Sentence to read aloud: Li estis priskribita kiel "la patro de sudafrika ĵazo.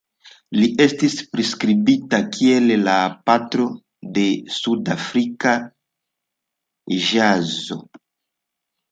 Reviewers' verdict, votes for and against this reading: accepted, 2, 0